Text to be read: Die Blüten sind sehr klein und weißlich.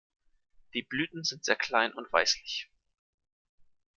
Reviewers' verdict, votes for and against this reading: accepted, 2, 0